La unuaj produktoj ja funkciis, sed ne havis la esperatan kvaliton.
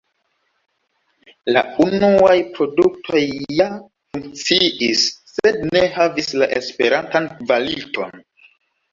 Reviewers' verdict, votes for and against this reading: rejected, 1, 2